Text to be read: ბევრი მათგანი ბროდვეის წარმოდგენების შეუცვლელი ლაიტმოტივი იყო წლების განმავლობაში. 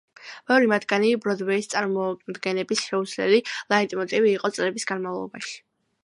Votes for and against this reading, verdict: 2, 0, accepted